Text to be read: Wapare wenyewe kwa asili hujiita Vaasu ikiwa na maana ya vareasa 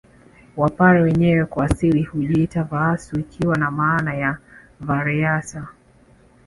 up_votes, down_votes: 1, 2